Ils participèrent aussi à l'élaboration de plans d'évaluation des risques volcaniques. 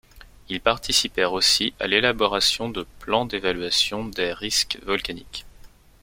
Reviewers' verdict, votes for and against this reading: accepted, 2, 0